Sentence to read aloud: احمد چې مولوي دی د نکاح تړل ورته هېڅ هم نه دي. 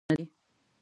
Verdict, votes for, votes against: rejected, 1, 2